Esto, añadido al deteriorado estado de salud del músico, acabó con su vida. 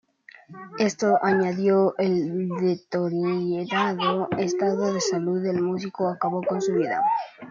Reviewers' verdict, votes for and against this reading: rejected, 0, 2